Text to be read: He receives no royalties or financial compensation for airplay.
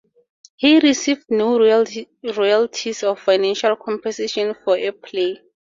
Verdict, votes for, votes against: rejected, 0, 4